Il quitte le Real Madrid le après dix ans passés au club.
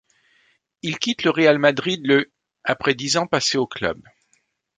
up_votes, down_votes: 2, 0